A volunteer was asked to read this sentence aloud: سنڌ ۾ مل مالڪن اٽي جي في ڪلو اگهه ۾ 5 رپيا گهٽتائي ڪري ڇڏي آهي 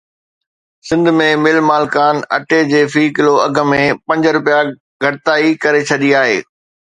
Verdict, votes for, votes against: rejected, 0, 2